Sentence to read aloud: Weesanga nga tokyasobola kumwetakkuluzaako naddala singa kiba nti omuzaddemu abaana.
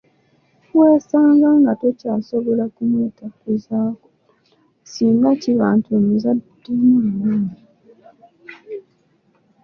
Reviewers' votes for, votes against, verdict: 1, 2, rejected